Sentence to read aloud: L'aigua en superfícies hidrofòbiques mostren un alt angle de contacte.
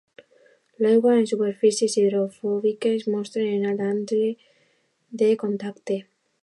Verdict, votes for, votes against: rejected, 1, 2